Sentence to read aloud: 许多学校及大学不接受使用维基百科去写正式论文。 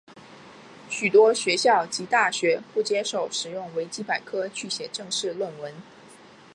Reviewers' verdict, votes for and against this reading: accepted, 2, 0